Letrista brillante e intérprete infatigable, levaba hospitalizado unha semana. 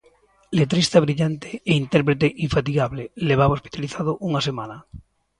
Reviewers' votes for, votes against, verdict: 2, 0, accepted